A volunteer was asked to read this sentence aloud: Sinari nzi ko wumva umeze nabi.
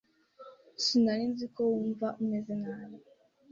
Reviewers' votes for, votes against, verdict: 2, 0, accepted